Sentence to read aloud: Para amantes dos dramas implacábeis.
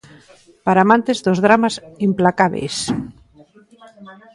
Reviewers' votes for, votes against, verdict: 2, 1, accepted